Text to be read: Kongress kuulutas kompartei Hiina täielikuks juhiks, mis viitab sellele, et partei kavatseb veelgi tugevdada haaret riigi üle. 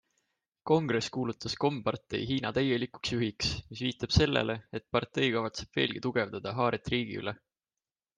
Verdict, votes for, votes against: accepted, 2, 0